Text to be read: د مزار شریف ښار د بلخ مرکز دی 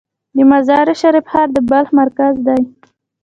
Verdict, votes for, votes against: accepted, 2, 1